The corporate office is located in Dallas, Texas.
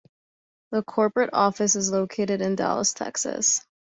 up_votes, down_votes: 2, 0